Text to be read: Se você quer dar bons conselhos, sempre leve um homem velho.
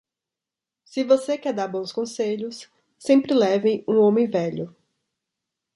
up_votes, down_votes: 2, 0